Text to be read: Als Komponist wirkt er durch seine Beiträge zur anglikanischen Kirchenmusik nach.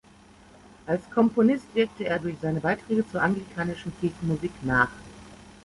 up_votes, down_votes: 1, 2